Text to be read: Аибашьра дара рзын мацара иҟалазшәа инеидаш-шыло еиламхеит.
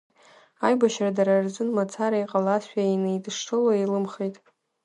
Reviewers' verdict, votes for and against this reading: rejected, 1, 2